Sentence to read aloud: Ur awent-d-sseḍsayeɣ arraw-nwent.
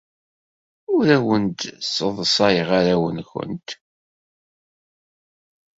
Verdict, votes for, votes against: accepted, 2, 0